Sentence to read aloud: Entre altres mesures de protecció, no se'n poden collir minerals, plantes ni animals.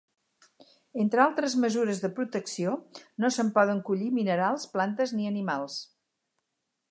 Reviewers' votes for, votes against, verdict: 4, 0, accepted